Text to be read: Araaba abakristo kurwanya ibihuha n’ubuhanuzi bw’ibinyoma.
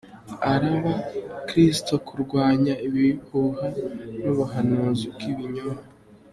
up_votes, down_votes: 3, 0